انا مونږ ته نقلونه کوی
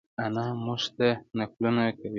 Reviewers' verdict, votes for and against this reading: rejected, 1, 2